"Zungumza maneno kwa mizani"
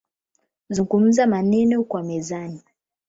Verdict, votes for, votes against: accepted, 8, 0